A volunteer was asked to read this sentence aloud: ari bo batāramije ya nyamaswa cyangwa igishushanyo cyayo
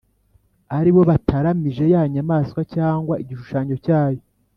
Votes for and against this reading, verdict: 3, 0, accepted